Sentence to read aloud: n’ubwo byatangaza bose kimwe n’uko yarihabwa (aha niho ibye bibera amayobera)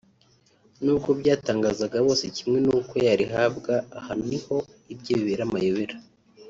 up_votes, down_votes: 1, 2